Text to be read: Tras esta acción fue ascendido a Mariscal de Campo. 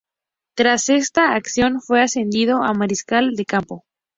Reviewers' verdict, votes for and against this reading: accepted, 2, 0